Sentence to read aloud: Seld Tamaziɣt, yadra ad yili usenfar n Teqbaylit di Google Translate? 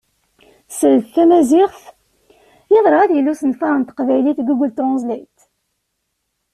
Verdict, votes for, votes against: accepted, 2, 0